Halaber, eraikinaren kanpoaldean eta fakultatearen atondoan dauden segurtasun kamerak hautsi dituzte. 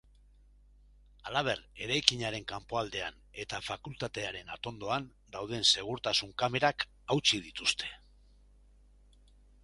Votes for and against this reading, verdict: 2, 1, accepted